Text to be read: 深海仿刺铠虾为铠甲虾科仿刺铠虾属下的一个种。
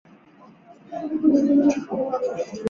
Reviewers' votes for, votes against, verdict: 0, 3, rejected